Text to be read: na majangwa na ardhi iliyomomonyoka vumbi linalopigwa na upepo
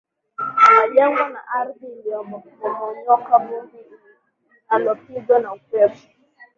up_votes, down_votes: 0, 2